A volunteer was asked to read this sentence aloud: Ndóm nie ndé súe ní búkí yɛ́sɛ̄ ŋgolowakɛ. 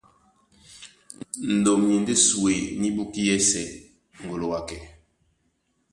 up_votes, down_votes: 2, 0